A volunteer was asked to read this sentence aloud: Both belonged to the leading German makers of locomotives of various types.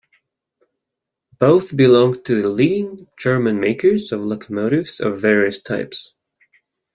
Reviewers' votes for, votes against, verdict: 1, 2, rejected